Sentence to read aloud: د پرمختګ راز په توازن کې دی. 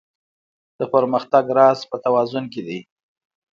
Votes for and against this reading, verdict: 1, 2, rejected